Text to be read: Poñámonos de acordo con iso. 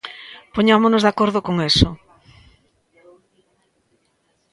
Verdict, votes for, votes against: rejected, 0, 2